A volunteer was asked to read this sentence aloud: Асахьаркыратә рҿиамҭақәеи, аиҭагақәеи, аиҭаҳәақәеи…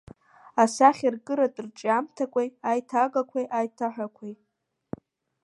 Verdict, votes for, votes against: rejected, 1, 2